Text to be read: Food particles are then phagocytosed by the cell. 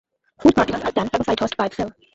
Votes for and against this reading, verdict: 0, 2, rejected